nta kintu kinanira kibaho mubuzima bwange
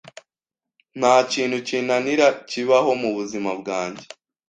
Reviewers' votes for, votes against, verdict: 2, 0, accepted